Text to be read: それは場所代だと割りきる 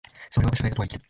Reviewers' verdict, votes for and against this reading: rejected, 1, 2